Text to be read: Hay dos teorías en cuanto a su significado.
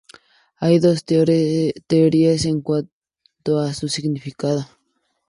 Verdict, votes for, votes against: rejected, 0, 4